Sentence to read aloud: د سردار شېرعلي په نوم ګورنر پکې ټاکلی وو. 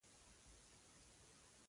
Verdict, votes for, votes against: accepted, 2, 0